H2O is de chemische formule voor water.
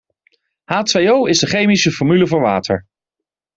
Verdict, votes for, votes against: rejected, 0, 2